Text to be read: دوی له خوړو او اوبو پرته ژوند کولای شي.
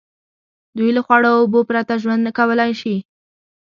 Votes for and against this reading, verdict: 0, 2, rejected